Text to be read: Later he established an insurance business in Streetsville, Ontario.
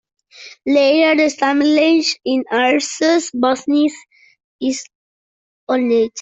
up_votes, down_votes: 0, 2